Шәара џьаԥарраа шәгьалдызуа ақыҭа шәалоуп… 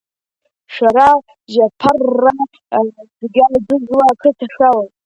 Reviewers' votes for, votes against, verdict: 0, 2, rejected